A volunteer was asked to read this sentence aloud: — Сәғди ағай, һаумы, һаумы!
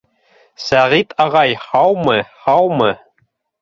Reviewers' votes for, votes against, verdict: 1, 2, rejected